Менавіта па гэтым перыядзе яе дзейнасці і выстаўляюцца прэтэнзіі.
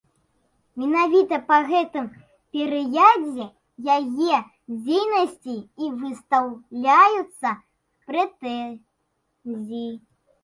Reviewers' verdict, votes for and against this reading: rejected, 0, 2